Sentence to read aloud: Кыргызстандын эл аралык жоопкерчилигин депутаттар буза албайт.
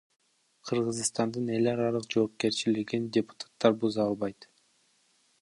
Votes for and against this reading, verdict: 0, 2, rejected